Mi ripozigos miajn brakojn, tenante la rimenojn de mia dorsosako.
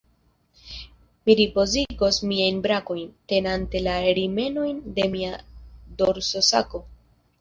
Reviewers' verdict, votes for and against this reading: rejected, 0, 2